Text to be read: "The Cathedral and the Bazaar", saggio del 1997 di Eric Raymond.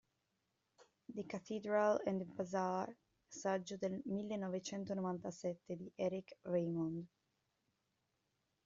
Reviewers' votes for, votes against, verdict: 0, 2, rejected